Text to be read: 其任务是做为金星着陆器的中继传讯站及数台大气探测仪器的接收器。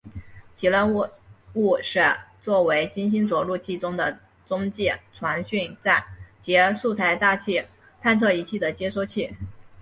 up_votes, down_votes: 0, 3